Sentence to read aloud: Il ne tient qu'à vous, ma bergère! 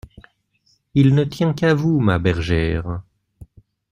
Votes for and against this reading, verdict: 2, 0, accepted